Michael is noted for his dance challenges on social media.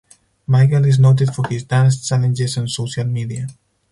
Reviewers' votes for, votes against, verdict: 2, 0, accepted